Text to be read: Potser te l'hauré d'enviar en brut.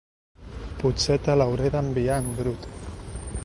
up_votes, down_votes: 2, 0